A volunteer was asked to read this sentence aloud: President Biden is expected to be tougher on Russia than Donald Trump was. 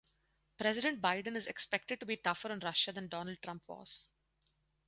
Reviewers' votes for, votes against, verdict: 2, 2, rejected